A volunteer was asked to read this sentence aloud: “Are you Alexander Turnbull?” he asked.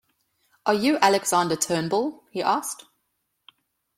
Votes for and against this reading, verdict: 2, 0, accepted